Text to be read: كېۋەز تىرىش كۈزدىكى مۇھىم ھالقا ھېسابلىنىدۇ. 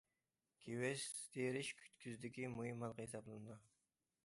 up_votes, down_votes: 1, 2